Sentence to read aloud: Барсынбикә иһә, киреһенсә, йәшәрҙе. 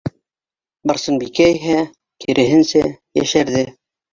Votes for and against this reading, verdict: 1, 2, rejected